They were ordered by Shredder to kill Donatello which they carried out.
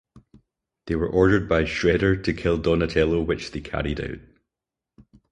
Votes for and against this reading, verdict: 2, 2, rejected